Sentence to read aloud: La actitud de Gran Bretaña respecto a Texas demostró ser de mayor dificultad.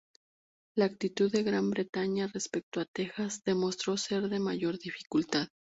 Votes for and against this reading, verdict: 2, 0, accepted